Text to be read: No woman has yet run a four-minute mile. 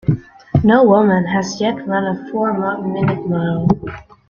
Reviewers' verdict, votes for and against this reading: rejected, 1, 2